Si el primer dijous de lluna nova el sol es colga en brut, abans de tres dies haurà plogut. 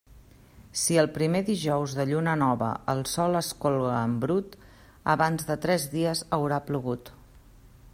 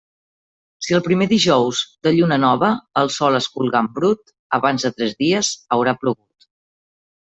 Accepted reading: first